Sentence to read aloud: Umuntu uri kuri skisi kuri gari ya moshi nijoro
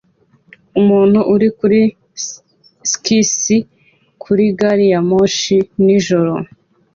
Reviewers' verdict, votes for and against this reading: accepted, 2, 0